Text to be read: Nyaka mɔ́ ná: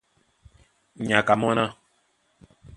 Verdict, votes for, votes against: accepted, 2, 0